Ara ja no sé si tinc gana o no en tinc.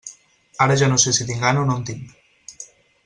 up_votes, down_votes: 6, 0